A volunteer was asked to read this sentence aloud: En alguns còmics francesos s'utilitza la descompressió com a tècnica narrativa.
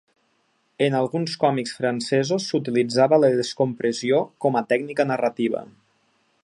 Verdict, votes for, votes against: rejected, 0, 2